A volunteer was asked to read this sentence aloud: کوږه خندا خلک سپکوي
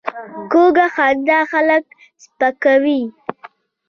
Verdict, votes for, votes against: accepted, 2, 0